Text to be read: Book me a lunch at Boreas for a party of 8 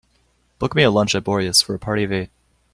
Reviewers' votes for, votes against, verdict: 0, 2, rejected